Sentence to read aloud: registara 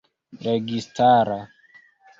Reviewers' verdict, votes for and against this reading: accepted, 2, 0